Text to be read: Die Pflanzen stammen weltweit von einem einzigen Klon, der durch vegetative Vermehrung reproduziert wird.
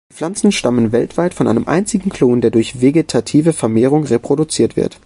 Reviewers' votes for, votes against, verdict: 0, 2, rejected